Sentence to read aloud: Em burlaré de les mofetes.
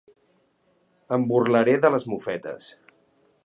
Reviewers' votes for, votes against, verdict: 4, 0, accepted